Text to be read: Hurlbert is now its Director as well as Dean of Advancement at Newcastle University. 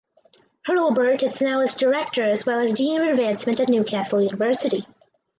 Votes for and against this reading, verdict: 2, 0, accepted